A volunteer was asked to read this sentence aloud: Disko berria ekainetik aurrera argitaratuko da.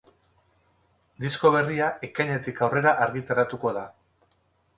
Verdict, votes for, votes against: rejected, 2, 2